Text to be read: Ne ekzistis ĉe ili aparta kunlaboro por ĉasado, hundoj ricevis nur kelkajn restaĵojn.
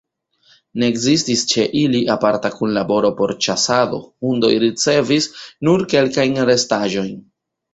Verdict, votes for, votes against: accepted, 2, 0